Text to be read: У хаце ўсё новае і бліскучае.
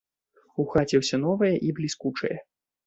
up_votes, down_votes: 2, 0